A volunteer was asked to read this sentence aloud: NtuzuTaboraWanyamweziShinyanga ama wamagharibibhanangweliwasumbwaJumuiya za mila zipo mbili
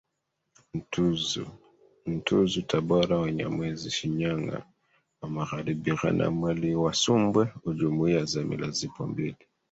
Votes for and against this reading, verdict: 1, 3, rejected